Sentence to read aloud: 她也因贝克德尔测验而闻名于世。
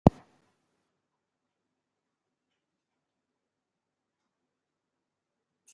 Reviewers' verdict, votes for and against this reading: rejected, 0, 2